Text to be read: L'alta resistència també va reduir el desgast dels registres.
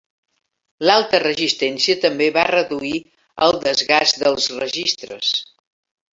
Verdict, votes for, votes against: accepted, 3, 0